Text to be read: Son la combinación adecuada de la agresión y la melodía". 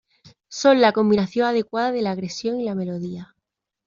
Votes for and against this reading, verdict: 2, 0, accepted